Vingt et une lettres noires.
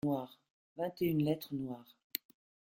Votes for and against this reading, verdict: 1, 2, rejected